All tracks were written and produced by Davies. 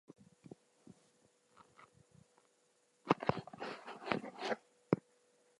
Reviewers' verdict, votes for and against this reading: rejected, 0, 2